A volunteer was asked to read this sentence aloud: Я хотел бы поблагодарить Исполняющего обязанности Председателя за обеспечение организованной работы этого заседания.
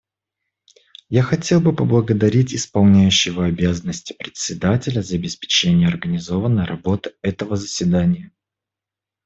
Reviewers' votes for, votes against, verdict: 2, 0, accepted